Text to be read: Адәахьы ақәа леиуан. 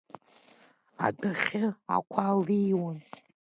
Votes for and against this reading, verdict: 1, 2, rejected